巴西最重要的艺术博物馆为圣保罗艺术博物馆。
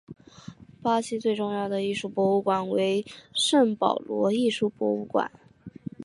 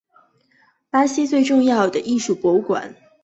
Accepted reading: first